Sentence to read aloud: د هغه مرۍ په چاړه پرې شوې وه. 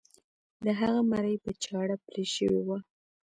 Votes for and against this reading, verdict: 1, 2, rejected